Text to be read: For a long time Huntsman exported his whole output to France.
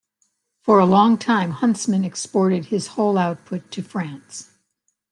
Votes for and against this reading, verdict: 3, 0, accepted